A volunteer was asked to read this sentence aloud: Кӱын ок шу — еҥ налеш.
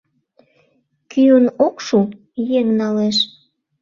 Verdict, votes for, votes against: accepted, 2, 0